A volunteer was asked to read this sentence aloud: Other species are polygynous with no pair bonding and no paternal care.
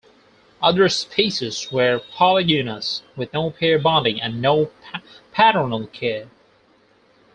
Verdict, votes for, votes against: rejected, 2, 4